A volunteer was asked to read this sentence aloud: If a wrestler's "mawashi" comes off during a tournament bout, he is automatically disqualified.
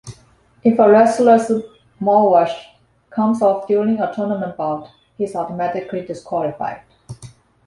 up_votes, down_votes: 0, 2